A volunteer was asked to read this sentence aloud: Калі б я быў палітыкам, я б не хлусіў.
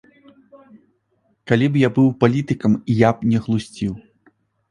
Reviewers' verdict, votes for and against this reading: rejected, 0, 2